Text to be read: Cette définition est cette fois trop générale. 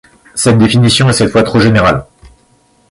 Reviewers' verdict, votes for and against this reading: accepted, 2, 0